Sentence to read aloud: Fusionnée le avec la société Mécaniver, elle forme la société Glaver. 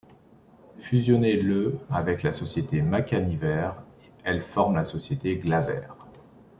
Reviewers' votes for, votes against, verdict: 0, 2, rejected